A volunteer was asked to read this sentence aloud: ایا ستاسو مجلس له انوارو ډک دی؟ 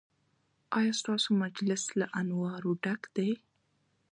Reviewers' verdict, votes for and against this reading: accepted, 2, 0